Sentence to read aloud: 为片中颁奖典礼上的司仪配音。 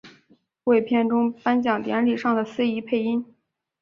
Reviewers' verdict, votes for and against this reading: accepted, 3, 0